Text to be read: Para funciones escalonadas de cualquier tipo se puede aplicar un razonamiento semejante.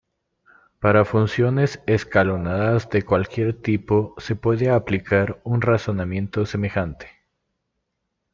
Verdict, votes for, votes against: rejected, 1, 2